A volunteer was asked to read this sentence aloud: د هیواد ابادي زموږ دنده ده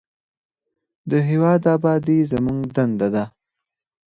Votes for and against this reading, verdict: 4, 0, accepted